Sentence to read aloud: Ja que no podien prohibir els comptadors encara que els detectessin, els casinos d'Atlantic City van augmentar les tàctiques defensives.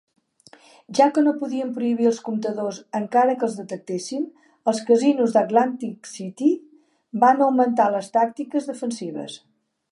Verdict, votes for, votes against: accepted, 3, 0